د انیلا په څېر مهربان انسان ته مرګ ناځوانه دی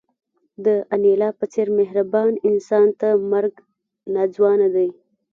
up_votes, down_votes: 2, 0